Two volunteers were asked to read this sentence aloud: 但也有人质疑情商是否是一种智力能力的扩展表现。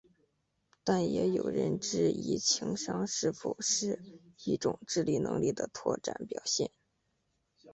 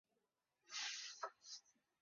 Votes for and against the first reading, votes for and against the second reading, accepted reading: 2, 1, 1, 6, first